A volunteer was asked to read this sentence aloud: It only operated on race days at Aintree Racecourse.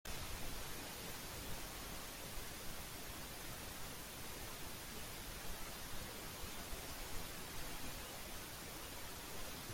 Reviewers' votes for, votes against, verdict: 0, 2, rejected